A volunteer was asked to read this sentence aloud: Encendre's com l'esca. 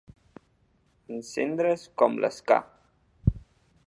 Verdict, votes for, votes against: accepted, 2, 0